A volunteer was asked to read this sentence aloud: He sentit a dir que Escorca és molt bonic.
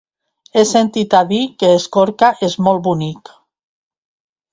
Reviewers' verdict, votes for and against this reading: accepted, 2, 0